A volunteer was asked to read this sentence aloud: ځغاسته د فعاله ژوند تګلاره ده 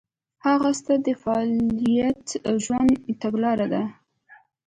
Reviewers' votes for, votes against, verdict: 1, 2, rejected